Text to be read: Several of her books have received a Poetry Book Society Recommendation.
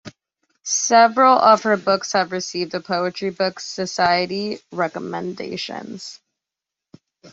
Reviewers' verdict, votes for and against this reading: rejected, 1, 2